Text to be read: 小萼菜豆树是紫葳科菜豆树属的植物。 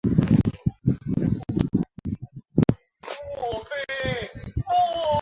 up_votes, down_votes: 0, 2